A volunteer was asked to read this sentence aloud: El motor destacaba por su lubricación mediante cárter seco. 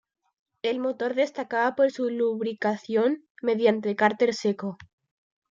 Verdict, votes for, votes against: accepted, 2, 0